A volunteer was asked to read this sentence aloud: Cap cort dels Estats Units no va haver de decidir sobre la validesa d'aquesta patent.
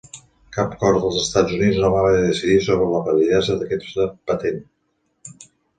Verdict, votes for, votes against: accepted, 2, 0